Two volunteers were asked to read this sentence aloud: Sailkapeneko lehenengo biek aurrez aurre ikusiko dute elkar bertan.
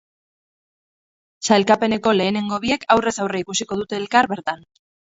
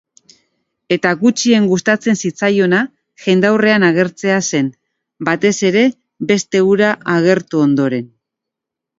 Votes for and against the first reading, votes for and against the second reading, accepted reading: 6, 2, 0, 2, first